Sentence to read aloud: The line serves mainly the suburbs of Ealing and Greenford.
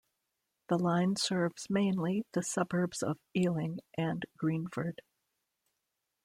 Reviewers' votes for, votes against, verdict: 2, 0, accepted